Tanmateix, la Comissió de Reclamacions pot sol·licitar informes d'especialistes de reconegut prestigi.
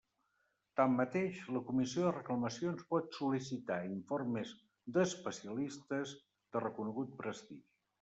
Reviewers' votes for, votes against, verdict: 0, 2, rejected